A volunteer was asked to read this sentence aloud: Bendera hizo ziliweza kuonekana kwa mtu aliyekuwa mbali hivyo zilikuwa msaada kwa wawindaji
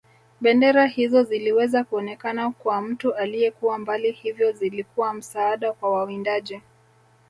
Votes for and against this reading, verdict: 2, 0, accepted